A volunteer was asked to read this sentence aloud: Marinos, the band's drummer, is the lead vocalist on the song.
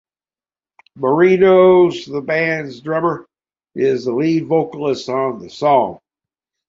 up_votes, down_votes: 2, 0